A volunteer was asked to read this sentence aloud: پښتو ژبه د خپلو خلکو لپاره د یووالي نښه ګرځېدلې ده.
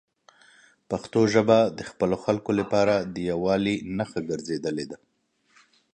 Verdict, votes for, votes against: accepted, 3, 0